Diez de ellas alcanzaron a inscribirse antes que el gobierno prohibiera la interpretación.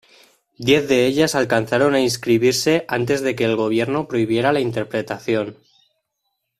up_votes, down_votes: 1, 2